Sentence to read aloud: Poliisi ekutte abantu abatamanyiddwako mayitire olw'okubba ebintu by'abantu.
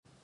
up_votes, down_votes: 0, 2